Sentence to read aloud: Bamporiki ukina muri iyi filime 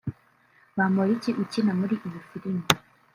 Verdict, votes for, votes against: rejected, 0, 2